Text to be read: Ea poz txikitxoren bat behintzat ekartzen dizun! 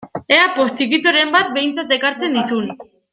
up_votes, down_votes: 1, 2